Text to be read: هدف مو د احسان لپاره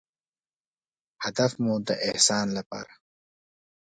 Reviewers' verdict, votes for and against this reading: accepted, 2, 0